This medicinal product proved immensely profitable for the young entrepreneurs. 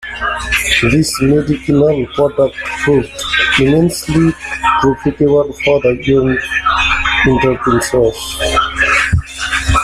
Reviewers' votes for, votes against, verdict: 0, 2, rejected